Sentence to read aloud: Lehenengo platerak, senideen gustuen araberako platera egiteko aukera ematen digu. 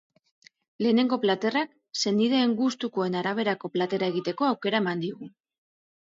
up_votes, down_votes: 2, 0